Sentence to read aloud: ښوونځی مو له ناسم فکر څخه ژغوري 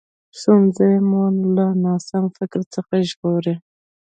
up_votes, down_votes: 1, 2